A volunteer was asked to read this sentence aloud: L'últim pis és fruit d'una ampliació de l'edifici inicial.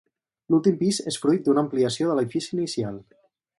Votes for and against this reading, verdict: 2, 2, rejected